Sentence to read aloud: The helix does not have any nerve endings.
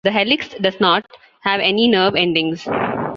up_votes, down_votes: 2, 1